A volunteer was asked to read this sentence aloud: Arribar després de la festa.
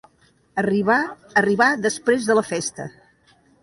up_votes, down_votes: 0, 2